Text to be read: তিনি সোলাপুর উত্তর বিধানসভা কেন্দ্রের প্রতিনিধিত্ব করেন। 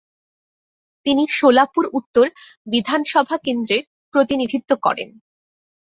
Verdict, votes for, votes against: accepted, 2, 0